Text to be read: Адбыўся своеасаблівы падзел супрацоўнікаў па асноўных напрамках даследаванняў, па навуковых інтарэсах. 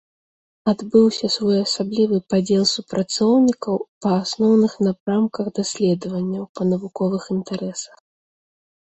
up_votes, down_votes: 3, 0